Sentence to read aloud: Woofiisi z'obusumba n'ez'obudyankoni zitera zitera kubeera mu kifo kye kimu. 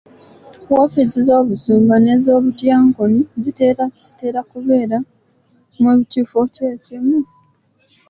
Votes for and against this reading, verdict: 0, 3, rejected